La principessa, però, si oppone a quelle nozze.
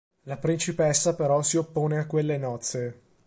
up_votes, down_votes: 2, 0